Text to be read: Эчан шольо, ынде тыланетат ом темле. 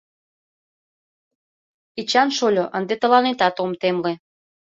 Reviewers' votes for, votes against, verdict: 2, 0, accepted